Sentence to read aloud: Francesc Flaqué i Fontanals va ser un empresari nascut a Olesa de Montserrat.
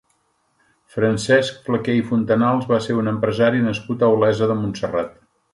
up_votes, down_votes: 2, 0